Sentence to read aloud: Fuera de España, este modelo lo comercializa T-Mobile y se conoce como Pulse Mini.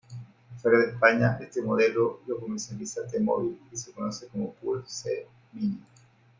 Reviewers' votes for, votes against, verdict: 2, 1, accepted